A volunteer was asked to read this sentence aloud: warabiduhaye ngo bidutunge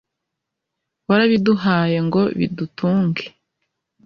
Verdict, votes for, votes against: accepted, 2, 0